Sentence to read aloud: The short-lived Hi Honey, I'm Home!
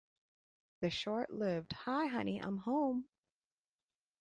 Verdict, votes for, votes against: accepted, 2, 1